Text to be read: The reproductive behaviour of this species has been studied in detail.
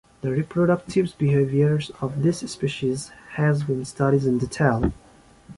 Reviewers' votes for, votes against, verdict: 1, 2, rejected